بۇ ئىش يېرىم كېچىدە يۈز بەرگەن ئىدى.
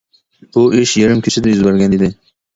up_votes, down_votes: 2, 0